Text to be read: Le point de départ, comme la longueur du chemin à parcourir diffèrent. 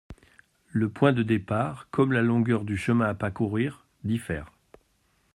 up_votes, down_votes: 1, 2